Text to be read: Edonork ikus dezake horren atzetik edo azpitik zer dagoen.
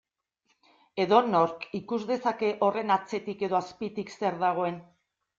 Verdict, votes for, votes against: accepted, 2, 0